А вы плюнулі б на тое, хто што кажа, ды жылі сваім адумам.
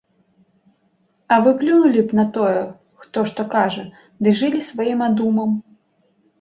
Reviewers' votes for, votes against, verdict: 1, 2, rejected